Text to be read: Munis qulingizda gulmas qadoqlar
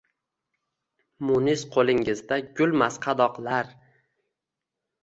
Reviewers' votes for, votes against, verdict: 2, 0, accepted